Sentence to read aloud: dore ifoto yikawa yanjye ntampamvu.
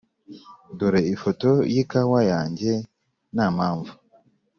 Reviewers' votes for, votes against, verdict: 3, 0, accepted